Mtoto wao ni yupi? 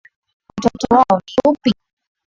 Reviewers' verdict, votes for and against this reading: rejected, 0, 3